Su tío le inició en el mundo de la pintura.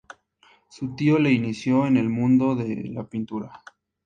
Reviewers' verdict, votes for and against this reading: accepted, 2, 0